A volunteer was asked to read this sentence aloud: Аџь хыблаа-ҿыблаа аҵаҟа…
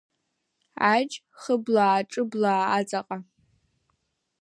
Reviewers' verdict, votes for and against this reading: accepted, 2, 0